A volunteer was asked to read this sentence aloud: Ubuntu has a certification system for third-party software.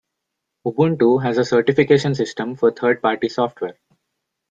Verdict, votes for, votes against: rejected, 0, 2